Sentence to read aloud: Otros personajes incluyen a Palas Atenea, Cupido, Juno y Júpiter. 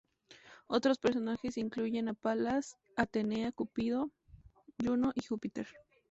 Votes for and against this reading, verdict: 2, 0, accepted